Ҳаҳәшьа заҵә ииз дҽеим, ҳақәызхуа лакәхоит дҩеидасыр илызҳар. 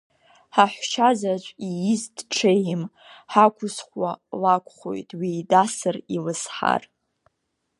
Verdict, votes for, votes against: accepted, 3, 0